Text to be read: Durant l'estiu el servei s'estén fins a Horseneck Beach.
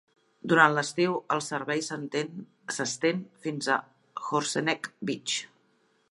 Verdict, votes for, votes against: rejected, 1, 2